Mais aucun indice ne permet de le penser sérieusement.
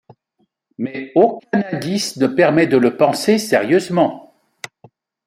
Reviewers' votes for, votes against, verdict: 2, 1, accepted